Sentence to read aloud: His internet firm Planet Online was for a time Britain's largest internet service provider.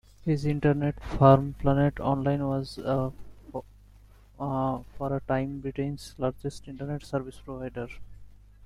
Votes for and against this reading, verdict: 1, 2, rejected